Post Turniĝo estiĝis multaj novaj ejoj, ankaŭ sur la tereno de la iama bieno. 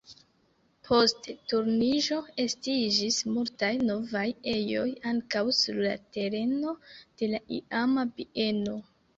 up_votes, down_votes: 1, 2